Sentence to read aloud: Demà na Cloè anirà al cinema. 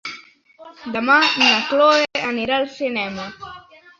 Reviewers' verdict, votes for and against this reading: accepted, 4, 0